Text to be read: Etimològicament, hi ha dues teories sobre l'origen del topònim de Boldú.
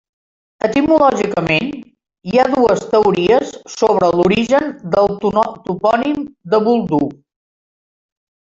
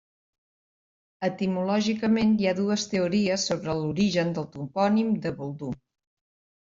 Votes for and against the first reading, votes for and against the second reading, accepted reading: 0, 2, 2, 0, second